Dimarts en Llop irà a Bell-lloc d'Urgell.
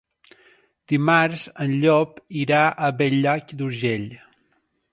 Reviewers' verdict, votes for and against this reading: rejected, 0, 2